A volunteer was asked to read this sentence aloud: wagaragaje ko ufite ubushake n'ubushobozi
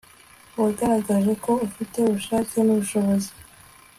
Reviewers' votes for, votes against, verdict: 2, 0, accepted